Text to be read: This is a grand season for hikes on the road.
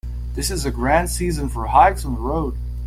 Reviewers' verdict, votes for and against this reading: accepted, 2, 1